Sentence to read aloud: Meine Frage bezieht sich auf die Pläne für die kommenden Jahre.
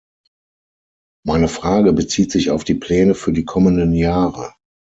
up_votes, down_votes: 6, 0